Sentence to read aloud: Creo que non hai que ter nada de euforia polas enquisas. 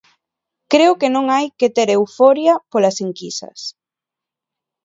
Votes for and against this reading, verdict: 0, 2, rejected